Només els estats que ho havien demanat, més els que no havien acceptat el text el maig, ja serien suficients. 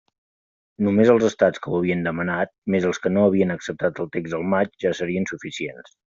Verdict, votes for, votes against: accepted, 2, 0